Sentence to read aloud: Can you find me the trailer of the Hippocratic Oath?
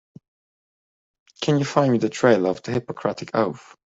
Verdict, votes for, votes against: accepted, 2, 0